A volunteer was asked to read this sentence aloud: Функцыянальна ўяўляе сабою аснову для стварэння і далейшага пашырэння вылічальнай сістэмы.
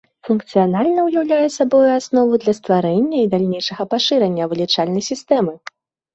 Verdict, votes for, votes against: rejected, 2, 3